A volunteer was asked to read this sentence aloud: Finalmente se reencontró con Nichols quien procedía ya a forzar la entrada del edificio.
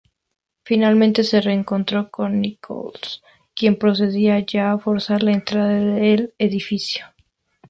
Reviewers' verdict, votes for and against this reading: accepted, 2, 0